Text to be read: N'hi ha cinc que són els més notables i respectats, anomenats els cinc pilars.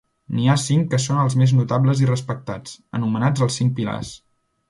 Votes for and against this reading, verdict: 2, 0, accepted